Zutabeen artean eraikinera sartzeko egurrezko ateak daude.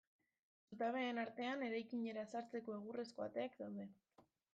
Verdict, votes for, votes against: accepted, 2, 0